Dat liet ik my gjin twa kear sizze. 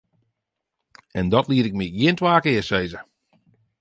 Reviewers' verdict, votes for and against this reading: rejected, 0, 2